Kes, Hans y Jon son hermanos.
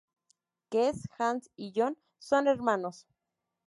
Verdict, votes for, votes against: accepted, 2, 0